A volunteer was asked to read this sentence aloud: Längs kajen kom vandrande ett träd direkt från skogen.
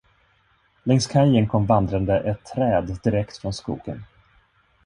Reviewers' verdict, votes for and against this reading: accepted, 2, 0